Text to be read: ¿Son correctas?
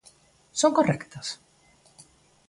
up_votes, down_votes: 2, 0